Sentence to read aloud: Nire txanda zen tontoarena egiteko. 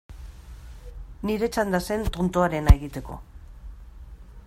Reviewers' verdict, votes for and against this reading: accepted, 3, 0